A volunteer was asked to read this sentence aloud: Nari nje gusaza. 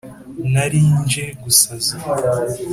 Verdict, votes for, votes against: accepted, 2, 0